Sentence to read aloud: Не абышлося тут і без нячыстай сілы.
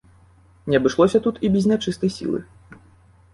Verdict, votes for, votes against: accepted, 2, 0